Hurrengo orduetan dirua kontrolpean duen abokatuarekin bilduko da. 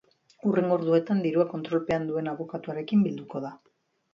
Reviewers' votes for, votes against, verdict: 3, 0, accepted